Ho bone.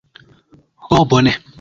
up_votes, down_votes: 2, 0